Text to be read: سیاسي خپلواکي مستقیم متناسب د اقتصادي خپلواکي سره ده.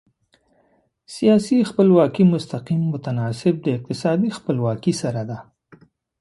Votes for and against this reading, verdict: 2, 0, accepted